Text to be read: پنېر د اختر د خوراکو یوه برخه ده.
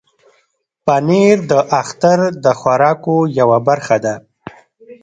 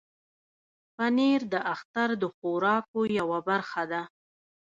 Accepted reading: first